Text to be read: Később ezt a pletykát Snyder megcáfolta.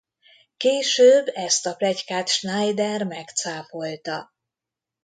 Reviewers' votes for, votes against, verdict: 0, 2, rejected